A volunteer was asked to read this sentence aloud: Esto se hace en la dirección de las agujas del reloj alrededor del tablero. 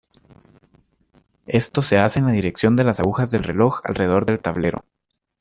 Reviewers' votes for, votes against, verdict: 2, 0, accepted